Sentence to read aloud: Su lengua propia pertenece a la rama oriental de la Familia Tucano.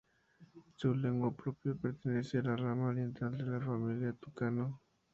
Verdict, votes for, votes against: rejected, 0, 2